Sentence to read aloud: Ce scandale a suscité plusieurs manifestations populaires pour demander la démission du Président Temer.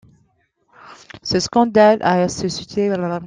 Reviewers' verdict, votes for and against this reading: rejected, 0, 2